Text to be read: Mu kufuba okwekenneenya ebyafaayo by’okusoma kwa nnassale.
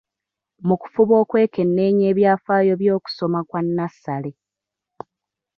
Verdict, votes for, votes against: rejected, 1, 2